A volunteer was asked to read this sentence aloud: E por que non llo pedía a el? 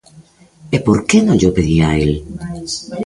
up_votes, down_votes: 0, 2